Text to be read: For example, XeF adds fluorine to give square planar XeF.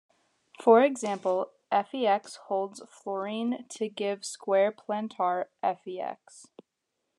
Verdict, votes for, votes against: rejected, 0, 2